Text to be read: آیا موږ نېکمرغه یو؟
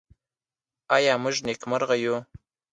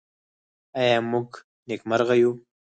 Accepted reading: first